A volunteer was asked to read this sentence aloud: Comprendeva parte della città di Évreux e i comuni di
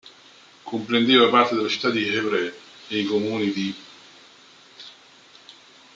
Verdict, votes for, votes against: rejected, 1, 3